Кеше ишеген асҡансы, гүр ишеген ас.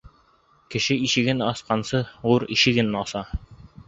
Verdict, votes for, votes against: rejected, 2, 3